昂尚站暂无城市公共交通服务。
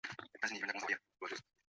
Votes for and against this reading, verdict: 1, 2, rejected